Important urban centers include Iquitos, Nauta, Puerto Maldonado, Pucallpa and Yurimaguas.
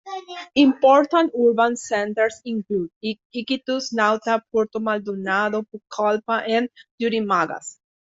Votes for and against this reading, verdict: 0, 2, rejected